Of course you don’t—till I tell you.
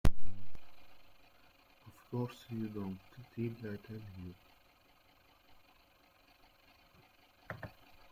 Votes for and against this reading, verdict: 0, 2, rejected